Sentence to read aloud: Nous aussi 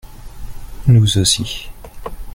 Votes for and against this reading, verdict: 1, 2, rejected